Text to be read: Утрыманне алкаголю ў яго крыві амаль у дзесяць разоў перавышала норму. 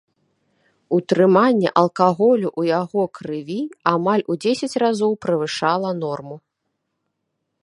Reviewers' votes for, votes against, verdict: 0, 2, rejected